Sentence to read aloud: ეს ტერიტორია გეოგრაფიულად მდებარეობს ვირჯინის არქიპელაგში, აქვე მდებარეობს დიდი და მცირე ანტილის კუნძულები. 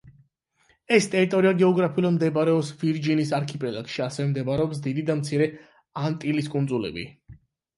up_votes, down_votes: 0, 8